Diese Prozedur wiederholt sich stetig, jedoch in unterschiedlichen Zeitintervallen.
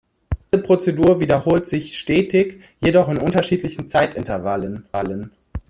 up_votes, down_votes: 0, 2